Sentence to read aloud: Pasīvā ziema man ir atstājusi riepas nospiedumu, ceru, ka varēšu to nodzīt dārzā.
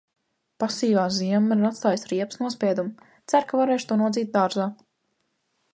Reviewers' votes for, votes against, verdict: 2, 1, accepted